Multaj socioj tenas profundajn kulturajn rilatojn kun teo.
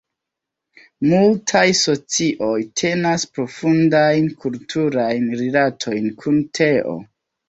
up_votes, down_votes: 2, 1